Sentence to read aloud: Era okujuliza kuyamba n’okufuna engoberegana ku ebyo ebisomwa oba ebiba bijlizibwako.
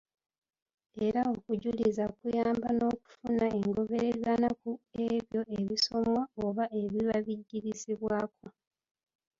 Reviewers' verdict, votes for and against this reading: rejected, 0, 2